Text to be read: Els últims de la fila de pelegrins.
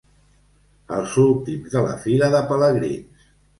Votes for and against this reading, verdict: 2, 0, accepted